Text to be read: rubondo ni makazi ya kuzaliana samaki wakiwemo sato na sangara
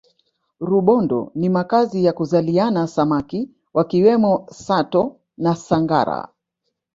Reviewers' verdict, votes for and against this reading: accepted, 2, 0